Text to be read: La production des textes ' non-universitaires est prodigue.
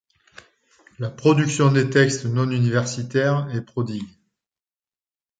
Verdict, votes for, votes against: accepted, 2, 0